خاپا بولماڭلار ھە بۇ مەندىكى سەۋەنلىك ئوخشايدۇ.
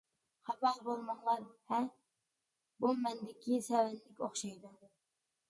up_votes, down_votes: 2, 0